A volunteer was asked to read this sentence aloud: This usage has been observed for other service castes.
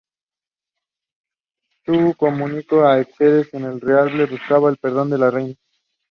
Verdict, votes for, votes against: rejected, 0, 2